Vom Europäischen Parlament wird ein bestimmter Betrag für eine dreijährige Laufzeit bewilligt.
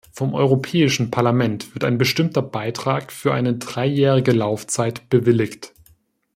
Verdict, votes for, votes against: rejected, 0, 2